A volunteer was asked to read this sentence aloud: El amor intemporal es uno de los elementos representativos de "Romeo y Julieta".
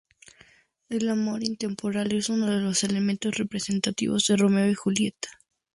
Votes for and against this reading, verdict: 2, 0, accepted